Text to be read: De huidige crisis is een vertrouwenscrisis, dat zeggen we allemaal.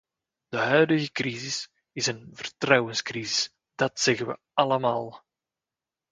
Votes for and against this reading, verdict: 2, 0, accepted